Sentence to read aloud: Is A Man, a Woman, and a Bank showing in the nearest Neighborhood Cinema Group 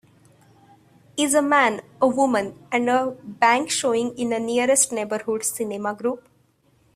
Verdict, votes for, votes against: accepted, 2, 1